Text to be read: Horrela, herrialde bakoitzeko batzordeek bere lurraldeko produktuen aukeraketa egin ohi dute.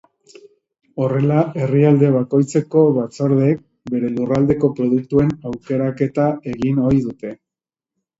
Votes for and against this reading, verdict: 2, 0, accepted